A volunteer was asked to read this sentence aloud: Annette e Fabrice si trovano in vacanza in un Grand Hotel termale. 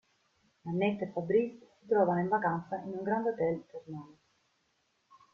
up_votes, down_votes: 1, 2